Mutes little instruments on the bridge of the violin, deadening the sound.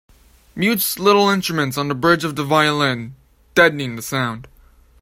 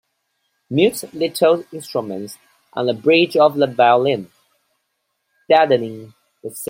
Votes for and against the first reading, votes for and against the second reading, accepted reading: 2, 0, 1, 2, first